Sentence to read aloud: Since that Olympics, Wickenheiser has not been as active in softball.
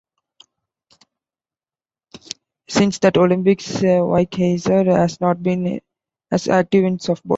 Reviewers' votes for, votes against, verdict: 1, 2, rejected